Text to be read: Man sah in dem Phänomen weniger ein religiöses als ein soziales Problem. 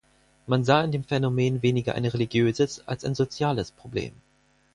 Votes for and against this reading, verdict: 2, 4, rejected